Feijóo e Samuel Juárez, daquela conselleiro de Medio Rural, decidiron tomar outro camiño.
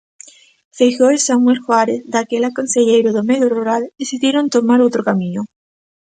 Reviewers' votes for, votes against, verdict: 1, 2, rejected